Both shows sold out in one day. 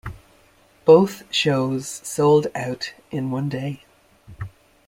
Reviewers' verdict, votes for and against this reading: accepted, 2, 0